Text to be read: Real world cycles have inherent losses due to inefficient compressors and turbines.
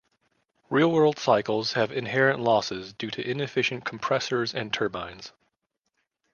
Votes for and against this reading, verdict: 2, 0, accepted